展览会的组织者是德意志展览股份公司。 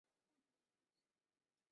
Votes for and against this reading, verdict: 0, 3, rejected